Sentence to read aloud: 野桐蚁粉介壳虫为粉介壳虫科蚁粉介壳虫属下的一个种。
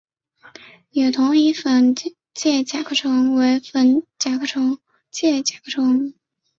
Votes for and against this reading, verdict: 2, 1, accepted